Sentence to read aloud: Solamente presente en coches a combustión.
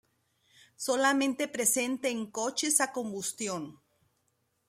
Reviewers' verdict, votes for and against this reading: accepted, 2, 0